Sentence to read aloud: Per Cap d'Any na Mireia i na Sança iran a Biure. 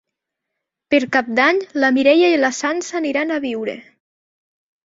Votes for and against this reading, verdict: 0, 2, rejected